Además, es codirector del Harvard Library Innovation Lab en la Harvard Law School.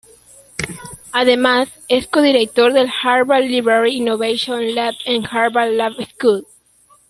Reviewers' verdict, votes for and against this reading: rejected, 0, 2